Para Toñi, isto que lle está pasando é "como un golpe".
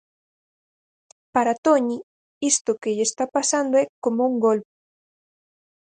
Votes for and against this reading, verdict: 0, 4, rejected